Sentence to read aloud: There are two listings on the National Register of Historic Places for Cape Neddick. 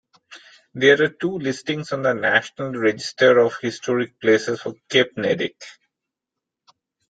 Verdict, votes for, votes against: rejected, 0, 2